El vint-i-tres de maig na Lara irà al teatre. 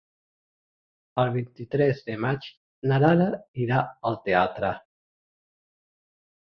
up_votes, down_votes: 3, 1